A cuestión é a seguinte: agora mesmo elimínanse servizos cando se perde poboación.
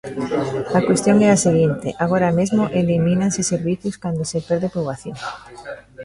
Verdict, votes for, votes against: rejected, 1, 2